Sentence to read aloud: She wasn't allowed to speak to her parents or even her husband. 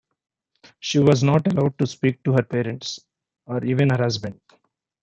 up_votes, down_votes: 2, 1